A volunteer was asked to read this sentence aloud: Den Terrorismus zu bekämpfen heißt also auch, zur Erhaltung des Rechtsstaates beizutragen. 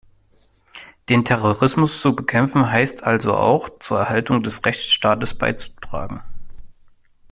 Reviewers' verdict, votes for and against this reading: accepted, 2, 0